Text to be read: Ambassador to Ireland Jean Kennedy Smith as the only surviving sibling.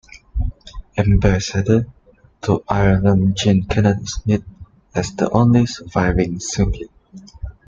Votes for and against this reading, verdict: 2, 1, accepted